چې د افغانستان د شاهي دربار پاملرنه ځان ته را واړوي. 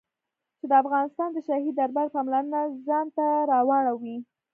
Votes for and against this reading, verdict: 2, 0, accepted